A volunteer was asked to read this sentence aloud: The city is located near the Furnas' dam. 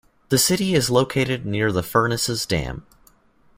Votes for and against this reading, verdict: 1, 2, rejected